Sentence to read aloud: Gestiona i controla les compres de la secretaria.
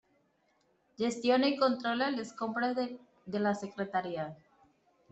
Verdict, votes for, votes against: rejected, 1, 2